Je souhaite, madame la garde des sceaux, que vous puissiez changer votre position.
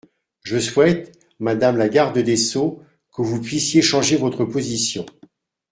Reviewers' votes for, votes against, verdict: 2, 0, accepted